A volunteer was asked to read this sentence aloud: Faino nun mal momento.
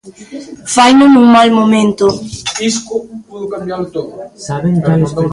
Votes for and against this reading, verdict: 0, 2, rejected